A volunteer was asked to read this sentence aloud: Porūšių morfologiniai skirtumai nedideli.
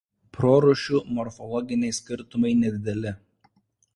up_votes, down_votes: 1, 2